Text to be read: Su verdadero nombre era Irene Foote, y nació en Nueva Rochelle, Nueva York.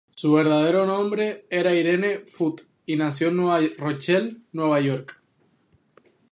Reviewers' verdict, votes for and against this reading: rejected, 2, 2